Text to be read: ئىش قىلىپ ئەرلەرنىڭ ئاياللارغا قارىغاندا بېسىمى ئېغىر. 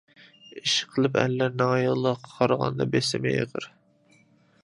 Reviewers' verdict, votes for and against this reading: accepted, 2, 1